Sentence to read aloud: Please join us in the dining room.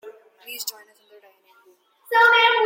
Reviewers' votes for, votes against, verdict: 0, 2, rejected